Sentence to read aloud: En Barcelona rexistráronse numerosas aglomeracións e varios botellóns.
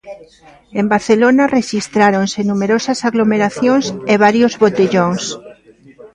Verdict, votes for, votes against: rejected, 1, 2